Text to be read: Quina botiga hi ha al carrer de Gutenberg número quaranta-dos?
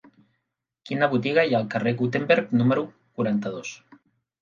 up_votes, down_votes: 0, 2